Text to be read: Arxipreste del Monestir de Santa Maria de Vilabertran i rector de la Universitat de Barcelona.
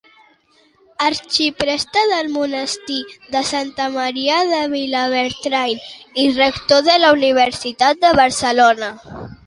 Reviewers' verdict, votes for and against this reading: accepted, 2, 1